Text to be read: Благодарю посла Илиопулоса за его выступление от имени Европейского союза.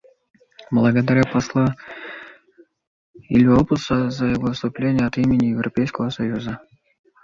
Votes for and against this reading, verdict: 1, 2, rejected